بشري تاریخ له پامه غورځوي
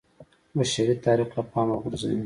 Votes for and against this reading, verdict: 2, 0, accepted